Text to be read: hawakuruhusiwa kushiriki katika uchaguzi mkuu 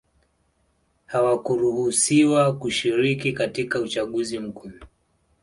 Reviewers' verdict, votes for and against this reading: accepted, 2, 0